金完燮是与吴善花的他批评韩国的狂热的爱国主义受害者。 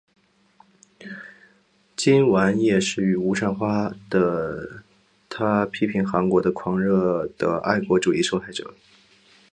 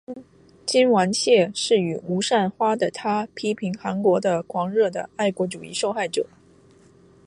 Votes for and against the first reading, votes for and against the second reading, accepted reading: 4, 0, 1, 3, first